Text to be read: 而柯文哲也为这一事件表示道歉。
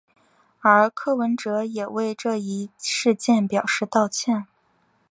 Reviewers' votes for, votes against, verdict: 5, 0, accepted